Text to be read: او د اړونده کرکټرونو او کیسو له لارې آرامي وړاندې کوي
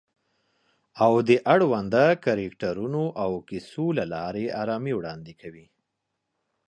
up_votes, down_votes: 2, 0